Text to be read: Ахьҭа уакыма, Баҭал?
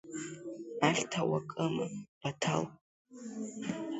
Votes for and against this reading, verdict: 2, 1, accepted